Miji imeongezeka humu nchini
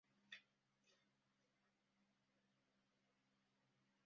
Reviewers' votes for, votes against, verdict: 0, 2, rejected